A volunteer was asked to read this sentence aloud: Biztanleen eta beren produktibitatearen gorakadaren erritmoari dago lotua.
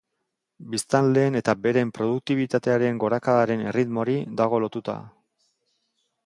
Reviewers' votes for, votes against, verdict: 1, 2, rejected